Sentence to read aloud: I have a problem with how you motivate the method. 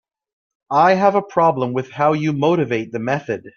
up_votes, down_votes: 2, 0